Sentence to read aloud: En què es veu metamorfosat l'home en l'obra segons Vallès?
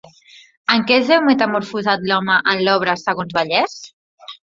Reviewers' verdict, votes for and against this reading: accepted, 2, 0